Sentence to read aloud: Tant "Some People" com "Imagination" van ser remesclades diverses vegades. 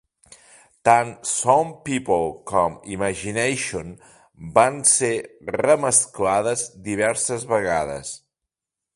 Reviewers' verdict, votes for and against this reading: accepted, 2, 0